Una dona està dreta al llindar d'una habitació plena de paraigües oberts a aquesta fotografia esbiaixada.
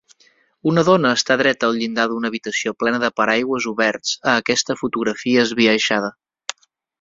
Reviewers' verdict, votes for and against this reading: accepted, 4, 0